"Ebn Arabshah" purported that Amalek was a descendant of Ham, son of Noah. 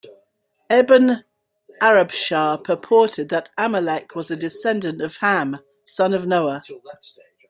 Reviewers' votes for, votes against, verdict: 2, 0, accepted